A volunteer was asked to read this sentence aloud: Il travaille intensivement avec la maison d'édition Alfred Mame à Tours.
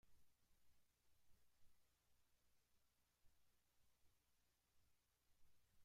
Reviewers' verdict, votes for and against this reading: rejected, 0, 2